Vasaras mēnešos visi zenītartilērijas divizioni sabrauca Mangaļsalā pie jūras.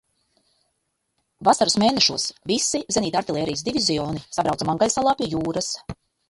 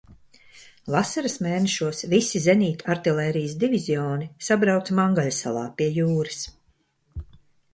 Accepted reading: second